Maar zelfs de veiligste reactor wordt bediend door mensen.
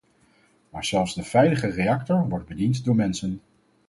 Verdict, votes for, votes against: rejected, 0, 4